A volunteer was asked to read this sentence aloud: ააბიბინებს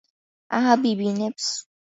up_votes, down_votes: 3, 0